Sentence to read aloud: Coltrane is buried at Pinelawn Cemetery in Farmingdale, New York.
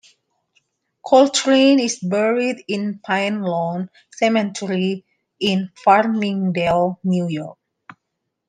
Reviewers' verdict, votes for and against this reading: accepted, 2, 1